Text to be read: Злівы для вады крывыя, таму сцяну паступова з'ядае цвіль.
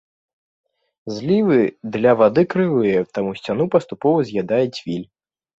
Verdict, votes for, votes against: accepted, 2, 0